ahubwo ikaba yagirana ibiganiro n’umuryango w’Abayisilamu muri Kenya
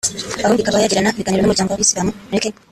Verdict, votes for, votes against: rejected, 1, 2